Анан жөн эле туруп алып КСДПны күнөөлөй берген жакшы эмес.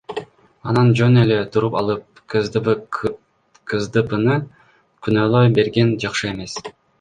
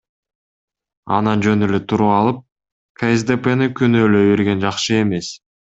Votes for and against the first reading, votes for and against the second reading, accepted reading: 1, 2, 2, 0, second